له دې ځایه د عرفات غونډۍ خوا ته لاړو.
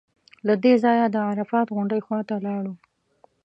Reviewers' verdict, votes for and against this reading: accepted, 2, 0